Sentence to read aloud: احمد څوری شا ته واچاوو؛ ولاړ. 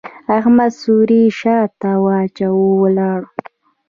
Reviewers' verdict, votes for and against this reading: accepted, 2, 1